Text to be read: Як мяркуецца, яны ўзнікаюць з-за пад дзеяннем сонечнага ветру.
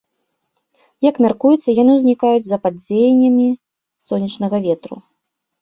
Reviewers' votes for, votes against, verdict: 1, 2, rejected